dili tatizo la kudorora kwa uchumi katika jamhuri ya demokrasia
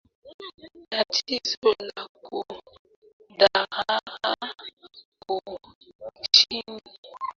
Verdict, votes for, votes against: rejected, 0, 2